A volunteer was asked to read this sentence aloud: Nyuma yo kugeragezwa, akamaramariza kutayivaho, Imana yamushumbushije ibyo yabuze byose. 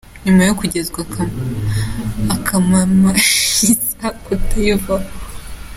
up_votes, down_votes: 0, 2